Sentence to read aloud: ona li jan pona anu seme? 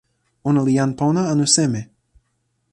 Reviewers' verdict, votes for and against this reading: accepted, 2, 0